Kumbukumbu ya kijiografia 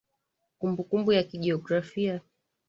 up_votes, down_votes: 0, 2